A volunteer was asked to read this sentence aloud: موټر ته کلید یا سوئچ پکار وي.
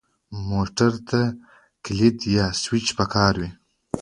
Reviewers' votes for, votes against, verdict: 2, 0, accepted